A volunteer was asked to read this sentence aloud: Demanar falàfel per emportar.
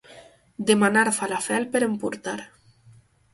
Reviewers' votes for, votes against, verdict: 2, 2, rejected